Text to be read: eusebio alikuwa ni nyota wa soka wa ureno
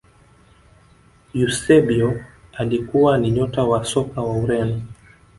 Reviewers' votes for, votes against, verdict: 3, 1, accepted